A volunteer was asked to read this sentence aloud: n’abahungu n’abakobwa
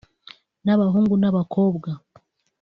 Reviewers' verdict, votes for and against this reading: accepted, 2, 0